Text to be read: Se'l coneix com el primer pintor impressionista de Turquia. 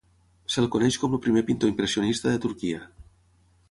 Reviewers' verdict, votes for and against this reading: rejected, 0, 6